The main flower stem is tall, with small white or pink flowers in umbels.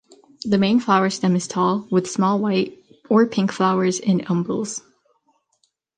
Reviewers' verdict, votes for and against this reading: accepted, 2, 0